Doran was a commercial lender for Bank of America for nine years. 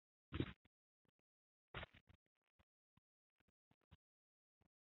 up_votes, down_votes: 0, 2